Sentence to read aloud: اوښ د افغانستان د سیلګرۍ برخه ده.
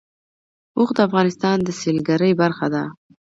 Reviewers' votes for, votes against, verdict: 2, 0, accepted